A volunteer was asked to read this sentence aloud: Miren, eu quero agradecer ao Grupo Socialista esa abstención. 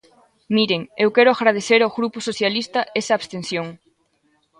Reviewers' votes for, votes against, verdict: 2, 0, accepted